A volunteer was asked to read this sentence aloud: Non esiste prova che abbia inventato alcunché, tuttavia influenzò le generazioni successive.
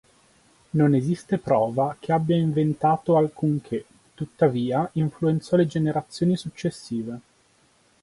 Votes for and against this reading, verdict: 4, 0, accepted